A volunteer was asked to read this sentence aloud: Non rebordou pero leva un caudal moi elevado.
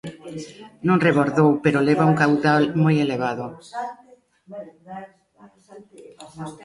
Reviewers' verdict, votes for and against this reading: rejected, 1, 2